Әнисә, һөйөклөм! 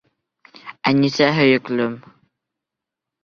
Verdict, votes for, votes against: rejected, 2, 3